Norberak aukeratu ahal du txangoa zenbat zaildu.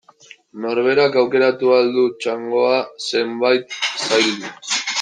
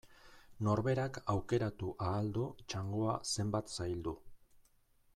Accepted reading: second